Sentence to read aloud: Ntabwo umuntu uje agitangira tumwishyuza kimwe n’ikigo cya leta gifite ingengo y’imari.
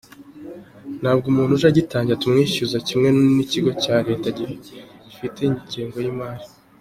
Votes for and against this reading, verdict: 2, 0, accepted